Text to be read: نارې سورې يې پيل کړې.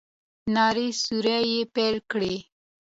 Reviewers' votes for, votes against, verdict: 2, 0, accepted